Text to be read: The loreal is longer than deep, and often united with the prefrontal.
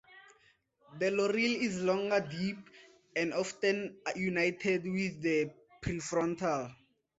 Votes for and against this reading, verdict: 0, 4, rejected